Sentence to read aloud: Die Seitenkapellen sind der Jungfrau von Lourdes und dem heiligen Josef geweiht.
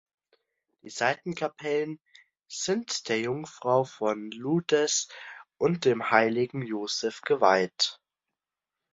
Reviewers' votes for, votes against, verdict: 0, 2, rejected